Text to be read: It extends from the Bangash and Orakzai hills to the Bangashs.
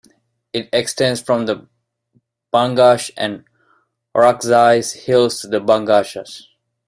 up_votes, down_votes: 2, 1